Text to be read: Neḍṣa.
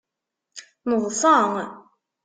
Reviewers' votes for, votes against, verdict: 2, 0, accepted